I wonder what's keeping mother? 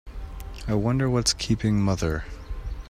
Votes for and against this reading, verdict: 2, 0, accepted